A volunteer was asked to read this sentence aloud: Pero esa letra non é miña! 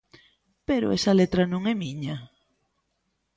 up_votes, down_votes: 2, 0